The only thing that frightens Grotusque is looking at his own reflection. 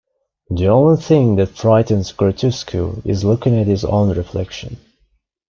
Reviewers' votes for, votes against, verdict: 2, 1, accepted